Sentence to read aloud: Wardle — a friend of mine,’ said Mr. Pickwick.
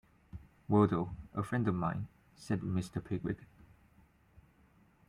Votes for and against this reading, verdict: 2, 0, accepted